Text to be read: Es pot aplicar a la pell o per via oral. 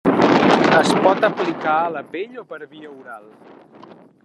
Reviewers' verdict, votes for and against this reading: rejected, 1, 2